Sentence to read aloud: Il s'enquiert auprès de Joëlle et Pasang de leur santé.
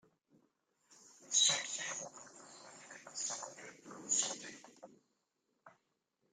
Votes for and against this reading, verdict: 0, 2, rejected